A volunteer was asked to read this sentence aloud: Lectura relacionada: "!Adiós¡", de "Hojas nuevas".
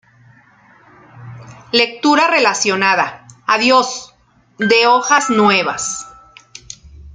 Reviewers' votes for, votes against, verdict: 2, 0, accepted